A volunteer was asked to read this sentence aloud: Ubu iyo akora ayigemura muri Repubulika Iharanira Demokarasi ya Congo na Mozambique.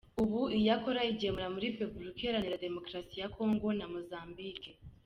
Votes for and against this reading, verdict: 3, 0, accepted